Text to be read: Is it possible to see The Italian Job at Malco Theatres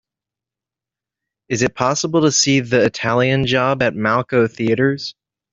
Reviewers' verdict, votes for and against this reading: accepted, 2, 0